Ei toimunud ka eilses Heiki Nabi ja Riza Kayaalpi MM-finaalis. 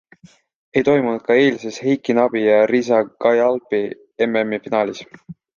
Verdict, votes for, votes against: accepted, 2, 1